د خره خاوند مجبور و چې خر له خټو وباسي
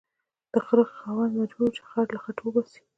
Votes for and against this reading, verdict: 2, 0, accepted